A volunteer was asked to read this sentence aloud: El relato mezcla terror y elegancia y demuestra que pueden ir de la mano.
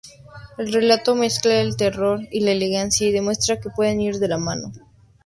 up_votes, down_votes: 2, 0